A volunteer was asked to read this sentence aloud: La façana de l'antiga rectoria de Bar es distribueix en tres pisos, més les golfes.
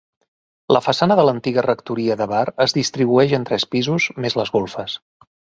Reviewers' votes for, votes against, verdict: 2, 0, accepted